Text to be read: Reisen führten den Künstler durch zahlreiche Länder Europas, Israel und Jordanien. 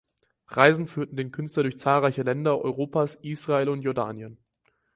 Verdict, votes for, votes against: accepted, 4, 0